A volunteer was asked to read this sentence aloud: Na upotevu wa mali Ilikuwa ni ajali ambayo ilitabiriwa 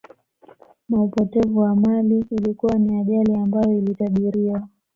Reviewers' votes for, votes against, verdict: 2, 0, accepted